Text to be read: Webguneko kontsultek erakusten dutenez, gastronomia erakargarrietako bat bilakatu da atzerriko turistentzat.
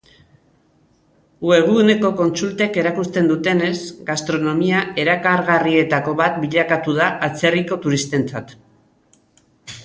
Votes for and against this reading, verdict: 2, 0, accepted